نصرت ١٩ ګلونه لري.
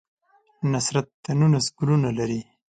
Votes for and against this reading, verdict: 0, 2, rejected